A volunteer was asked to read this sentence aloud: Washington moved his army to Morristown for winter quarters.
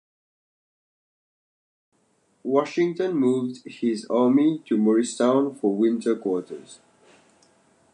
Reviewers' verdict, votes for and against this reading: accepted, 2, 0